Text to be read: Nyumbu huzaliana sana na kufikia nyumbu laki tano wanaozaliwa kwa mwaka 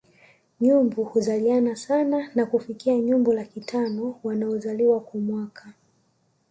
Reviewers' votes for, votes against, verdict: 2, 0, accepted